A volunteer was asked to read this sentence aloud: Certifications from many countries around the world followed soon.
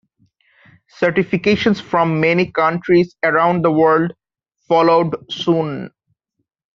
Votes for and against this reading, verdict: 2, 0, accepted